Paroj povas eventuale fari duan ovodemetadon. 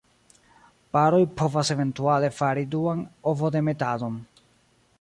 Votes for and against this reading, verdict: 0, 2, rejected